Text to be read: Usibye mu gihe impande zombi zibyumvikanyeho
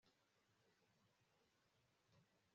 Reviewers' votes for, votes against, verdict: 1, 2, rejected